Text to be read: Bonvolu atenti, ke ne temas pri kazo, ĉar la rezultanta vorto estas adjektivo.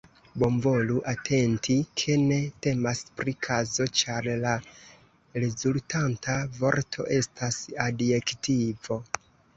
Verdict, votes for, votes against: rejected, 0, 2